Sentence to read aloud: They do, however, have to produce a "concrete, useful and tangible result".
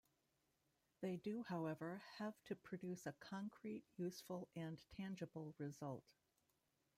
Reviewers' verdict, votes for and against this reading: rejected, 1, 2